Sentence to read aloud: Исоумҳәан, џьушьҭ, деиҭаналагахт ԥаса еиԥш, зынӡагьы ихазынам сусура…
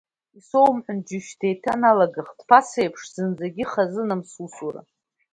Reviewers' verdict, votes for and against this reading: accepted, 2, 1